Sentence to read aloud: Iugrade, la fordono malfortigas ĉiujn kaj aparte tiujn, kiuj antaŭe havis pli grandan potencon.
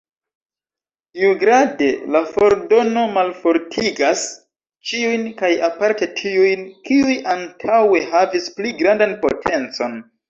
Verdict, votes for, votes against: rejected, 0, 2